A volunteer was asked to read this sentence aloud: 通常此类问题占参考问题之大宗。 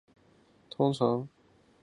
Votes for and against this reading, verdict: 0, 3, rejected